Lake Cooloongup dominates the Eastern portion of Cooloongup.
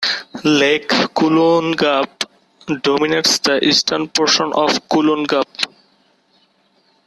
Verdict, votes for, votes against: rejected, 1, 2